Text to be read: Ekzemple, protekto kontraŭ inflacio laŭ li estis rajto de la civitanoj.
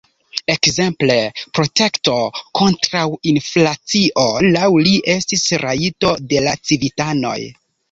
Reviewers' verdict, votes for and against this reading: accepted, 3, 0